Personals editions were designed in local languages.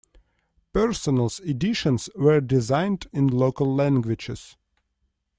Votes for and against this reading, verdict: 2, 0, accepted